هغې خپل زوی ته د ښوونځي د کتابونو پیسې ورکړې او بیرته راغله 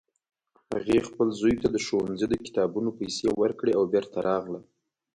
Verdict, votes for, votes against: accepted, 2, 0